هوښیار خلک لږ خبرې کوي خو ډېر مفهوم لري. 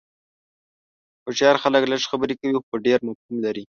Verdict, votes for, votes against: rejected, 0, 2